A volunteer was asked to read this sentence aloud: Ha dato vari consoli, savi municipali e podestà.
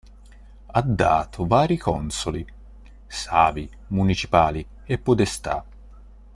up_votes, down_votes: 2, 1